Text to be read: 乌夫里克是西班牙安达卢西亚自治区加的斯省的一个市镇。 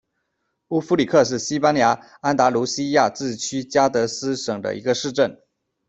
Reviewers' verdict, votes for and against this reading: accepted, 2, 0